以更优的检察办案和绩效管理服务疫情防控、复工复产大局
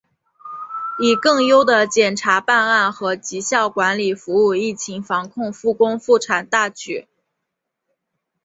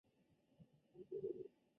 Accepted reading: first